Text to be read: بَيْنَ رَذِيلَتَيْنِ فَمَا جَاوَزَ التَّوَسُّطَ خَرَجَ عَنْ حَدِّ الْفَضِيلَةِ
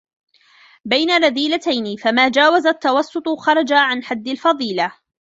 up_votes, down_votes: 0, 2